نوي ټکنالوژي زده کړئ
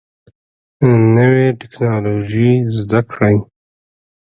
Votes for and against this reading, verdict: 2, 0, accepted